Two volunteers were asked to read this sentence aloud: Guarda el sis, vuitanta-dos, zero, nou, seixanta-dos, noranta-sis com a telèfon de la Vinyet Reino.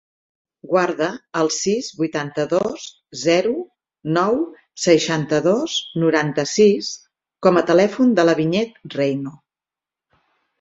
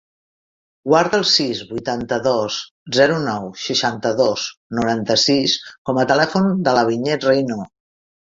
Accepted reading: first